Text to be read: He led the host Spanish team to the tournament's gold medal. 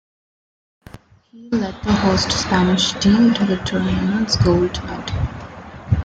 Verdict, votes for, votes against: rejected, 0, 2